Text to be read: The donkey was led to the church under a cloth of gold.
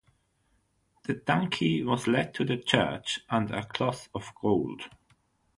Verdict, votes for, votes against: accepted, 3, 0